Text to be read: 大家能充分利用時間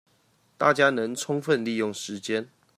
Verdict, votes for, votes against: accepted, 2, 0